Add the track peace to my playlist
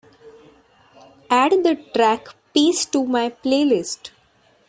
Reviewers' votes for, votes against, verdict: 1, 2, rejected